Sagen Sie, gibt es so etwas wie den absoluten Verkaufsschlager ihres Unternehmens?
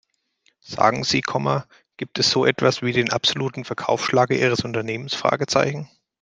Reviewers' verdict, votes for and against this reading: rejected, 0, 2